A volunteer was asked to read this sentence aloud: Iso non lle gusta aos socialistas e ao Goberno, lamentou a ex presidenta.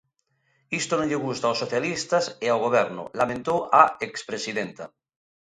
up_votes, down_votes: 1, 2